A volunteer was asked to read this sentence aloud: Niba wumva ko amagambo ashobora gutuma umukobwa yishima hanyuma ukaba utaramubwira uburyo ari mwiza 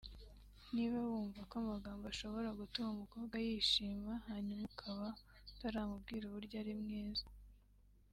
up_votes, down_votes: 2, 0